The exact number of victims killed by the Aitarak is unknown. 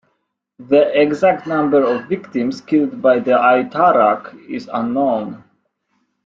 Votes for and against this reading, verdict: 2, 0, accepted